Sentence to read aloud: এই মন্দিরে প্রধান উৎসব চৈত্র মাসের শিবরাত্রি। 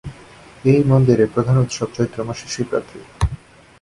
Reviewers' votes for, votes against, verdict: 2, 0, accepted